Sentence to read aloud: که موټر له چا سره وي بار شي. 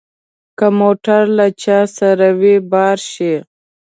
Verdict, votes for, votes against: accepted, 2, 0